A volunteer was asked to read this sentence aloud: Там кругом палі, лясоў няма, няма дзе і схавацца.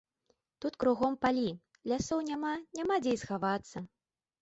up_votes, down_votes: 2, 0